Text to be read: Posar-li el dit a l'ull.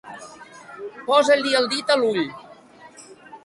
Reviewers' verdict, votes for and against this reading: rejected, 1, 2